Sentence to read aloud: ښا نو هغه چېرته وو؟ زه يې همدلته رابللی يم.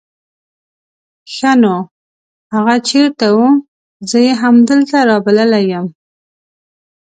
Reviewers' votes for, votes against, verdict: 5, 0, accepted